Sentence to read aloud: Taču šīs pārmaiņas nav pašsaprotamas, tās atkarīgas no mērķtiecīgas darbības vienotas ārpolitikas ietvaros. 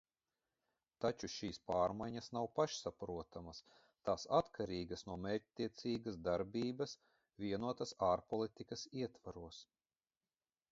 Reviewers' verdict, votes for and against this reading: rejected, 0, 2